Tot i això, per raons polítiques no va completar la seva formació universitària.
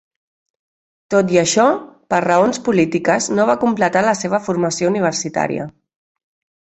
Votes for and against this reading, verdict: 3, 0, accepted